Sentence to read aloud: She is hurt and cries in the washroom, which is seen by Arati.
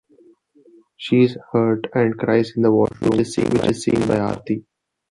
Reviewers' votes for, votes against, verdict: 2, 1, accepted